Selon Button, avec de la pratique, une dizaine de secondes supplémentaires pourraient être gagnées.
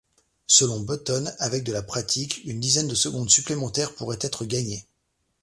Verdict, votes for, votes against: accepted, 2, 0